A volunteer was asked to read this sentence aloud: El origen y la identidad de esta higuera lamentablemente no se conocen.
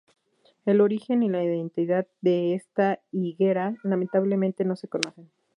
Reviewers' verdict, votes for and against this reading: rejected, 2, 2